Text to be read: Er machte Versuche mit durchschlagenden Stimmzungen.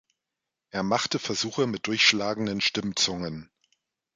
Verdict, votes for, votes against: accepted, 2, 0